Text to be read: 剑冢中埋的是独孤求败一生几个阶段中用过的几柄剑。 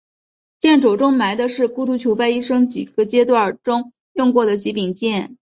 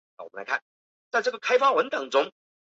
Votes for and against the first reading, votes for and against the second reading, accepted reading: 8, 0, 0, 2, first